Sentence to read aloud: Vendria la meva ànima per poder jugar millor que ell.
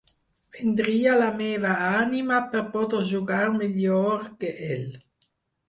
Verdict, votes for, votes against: rejected, 2, 4